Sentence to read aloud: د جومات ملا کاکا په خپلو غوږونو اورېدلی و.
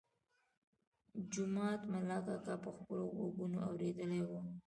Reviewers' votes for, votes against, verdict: 1, 2, rejected